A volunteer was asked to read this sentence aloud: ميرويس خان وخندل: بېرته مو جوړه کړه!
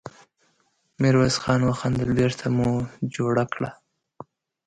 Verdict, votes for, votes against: accepted, 2, 0